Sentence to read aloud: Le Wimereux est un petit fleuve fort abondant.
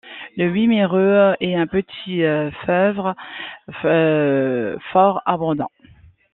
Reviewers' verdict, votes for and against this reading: rejected, 1, 2